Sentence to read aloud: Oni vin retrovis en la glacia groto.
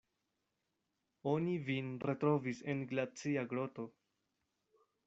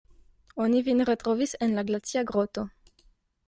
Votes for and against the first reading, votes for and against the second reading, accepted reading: 0, 2, 2, 0, second